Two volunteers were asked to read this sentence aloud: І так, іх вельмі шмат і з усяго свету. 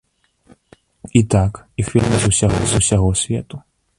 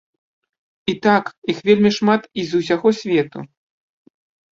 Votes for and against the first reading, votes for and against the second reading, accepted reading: 0, 2, 2, 0, second